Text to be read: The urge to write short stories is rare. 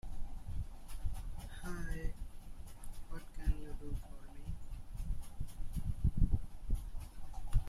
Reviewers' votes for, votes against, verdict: 0, 2, rejected